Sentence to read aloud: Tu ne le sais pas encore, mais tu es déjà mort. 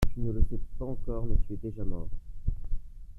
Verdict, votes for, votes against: rejected, 1, 2